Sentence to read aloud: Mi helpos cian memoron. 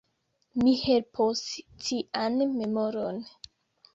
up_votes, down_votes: 2, 0